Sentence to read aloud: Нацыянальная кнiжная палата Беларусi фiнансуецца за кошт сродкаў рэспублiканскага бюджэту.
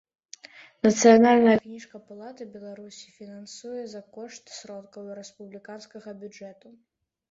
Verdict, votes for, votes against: rejected, 0, 2